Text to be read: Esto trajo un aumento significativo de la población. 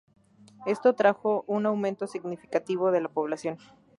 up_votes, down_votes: 2, 0